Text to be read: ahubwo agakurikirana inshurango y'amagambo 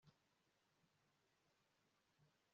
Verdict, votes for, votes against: rejected, 1, 2